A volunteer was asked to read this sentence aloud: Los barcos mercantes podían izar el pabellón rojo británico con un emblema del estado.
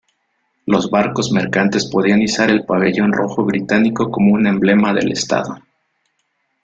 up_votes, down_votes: 1, 2